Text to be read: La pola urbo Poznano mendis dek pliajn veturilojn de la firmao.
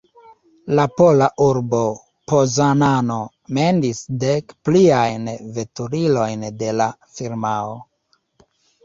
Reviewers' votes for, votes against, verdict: 1, 2, rejected